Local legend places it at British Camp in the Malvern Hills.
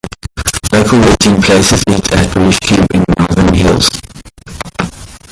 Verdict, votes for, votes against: rejected, 0, 2